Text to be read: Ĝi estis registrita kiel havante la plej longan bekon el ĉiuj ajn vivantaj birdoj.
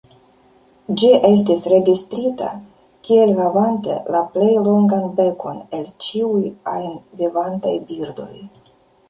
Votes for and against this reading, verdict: 2, 1, accepted